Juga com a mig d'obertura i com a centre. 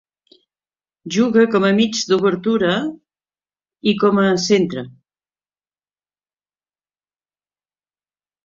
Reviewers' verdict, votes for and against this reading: accepted, 3, 1